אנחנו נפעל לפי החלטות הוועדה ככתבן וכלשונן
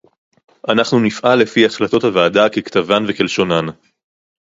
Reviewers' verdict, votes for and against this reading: accepted, 4, 0